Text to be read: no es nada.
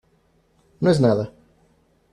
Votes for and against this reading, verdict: 2, 0, accepted